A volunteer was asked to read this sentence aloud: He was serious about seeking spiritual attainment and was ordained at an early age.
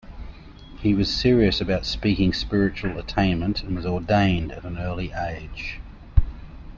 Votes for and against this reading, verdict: 0, 2, rejected